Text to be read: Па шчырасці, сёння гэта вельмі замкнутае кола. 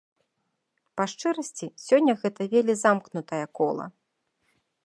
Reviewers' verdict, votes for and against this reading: rejected, 0, 2